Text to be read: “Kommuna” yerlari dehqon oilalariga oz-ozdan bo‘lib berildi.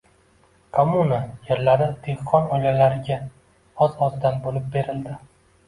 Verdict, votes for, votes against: accepted, 2, 0